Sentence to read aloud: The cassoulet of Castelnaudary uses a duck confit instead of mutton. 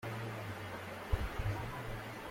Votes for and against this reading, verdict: 0, 2, rejected